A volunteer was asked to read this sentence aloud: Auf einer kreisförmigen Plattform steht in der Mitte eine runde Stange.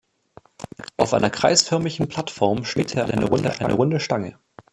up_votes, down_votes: 0, 2